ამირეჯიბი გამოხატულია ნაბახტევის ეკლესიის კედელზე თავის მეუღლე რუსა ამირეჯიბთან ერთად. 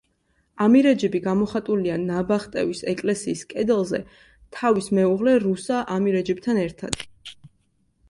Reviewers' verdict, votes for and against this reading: accepted, 2, 0